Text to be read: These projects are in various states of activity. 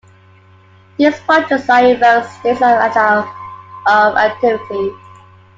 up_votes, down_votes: 0, 2